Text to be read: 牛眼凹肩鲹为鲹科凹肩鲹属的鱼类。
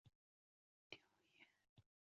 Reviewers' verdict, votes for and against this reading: rejected, 0, 2